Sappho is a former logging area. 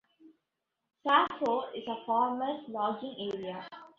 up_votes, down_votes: 1, 2